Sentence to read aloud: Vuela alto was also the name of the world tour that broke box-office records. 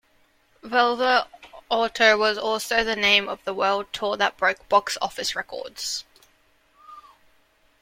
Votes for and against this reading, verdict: 2, 0, accepted